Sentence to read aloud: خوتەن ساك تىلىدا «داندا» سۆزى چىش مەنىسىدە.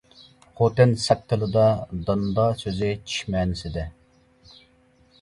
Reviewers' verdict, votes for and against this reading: accepted, 2, 0